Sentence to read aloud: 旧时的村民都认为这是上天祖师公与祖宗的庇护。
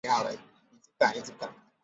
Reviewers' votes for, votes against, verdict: 2, 3, rejected